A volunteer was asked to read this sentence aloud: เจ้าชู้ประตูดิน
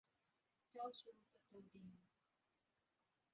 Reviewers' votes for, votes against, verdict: 0, 2, rejected